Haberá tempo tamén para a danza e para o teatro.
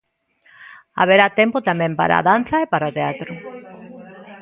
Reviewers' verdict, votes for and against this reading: rejected, 1, 2